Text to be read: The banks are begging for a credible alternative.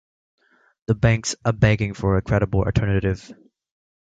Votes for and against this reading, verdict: 2, 0, accepted